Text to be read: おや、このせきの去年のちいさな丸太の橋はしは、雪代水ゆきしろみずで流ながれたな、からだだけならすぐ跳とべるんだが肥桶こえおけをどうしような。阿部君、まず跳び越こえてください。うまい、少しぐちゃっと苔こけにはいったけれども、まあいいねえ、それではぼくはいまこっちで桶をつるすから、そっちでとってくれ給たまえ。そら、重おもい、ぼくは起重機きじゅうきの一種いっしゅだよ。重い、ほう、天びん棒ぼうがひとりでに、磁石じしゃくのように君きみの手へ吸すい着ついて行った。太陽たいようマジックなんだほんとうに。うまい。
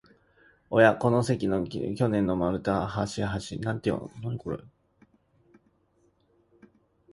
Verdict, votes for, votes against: rejected, 1, 2